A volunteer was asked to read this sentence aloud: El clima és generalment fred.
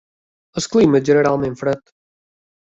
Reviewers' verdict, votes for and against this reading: accepted, 2, 0